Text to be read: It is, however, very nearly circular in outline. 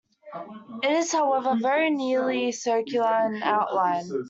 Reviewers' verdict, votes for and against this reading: rejected, 0, 2